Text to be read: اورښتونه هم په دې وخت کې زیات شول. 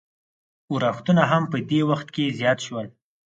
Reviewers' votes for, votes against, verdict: 4, 0, accepted